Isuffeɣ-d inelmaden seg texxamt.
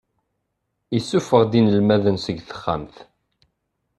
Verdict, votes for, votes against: accepted, 2, 0